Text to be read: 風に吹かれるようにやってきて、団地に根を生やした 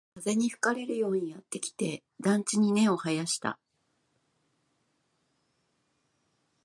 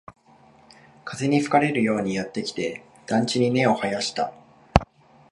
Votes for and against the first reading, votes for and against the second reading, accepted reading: 0, 2, 3, 1, second